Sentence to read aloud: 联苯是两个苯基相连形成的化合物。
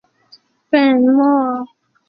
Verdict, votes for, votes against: rejected, 0, 4